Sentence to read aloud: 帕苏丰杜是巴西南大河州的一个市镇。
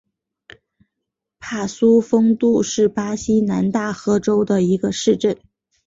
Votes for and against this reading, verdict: 6, 2, accepted